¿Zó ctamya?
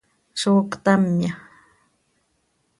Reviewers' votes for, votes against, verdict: 2, 0, accepted